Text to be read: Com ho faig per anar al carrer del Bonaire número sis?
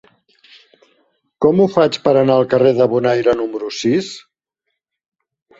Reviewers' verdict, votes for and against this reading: rejected, 0, 2